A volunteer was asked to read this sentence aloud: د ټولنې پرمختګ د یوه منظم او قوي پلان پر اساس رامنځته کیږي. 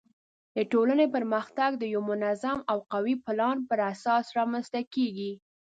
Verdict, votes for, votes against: accepted, 2, 0